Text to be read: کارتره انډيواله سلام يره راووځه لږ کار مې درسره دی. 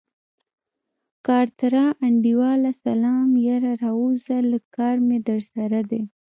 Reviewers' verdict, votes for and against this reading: rejected, 1, 2